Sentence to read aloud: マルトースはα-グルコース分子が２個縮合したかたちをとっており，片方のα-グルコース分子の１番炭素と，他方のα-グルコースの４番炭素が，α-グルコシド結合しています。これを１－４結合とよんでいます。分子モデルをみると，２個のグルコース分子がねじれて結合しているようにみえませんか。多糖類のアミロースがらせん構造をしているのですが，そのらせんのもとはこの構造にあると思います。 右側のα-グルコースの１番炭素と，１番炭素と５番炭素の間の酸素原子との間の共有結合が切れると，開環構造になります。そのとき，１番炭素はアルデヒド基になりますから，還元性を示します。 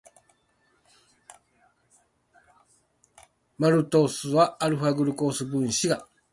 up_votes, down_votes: 0, 2